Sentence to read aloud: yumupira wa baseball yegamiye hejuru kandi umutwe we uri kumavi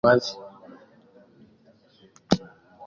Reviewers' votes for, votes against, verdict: 0, 2, rejected